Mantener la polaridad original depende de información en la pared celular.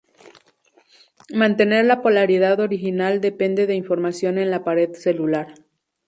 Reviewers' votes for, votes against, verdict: 2, 0, accepted